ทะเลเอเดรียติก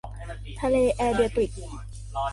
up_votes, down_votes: 2, 1